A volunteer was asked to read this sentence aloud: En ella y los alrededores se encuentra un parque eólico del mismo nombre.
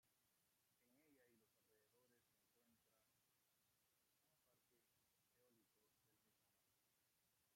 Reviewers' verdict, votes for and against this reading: rejected, 0, 2